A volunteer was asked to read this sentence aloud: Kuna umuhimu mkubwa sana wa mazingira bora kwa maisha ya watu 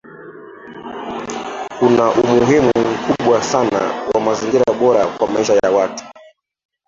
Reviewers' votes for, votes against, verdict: 0, 2, rejected